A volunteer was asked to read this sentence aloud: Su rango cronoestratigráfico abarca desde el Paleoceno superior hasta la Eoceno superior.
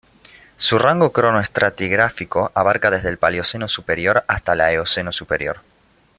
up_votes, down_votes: 0, 2